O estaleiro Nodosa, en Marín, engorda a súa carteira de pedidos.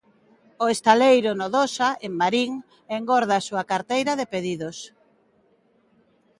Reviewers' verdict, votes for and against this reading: accepted, 2, 1